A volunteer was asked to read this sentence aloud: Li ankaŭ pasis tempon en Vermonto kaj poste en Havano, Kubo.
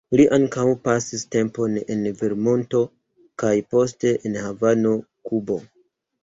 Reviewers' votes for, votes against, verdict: 3, 0, accepted